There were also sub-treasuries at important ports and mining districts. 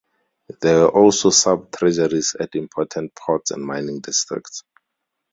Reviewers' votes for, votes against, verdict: 0, 4, rejected